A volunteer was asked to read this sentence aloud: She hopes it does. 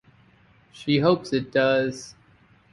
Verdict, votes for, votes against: accepted, 6, 0